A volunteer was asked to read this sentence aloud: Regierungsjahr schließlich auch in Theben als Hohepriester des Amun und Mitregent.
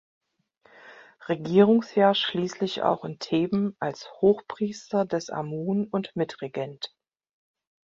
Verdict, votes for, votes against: rejected, 0, 2